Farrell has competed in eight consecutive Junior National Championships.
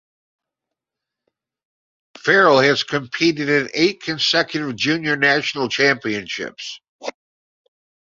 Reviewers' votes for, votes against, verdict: 2, 0, accepted